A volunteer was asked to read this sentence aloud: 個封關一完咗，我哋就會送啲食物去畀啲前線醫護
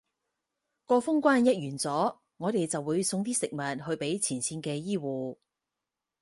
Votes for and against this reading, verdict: 0, 4, rejected